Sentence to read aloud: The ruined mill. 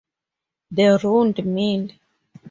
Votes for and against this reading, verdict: 2, 2, rejected